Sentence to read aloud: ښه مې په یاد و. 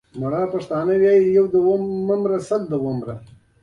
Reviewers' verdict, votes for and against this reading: rejected, 0, 2